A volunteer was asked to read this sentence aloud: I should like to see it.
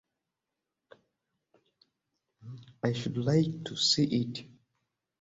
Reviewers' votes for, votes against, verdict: 2, 0, accepted